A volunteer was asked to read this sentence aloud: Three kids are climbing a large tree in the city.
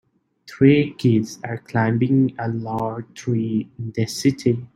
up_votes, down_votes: 2, 1